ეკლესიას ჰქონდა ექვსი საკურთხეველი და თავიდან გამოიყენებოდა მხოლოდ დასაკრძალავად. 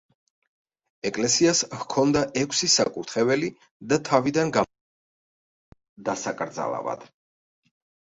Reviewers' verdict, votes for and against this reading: rejected, 0, 2